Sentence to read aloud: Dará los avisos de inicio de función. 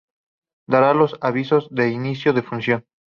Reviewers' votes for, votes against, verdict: 4, 0, accepted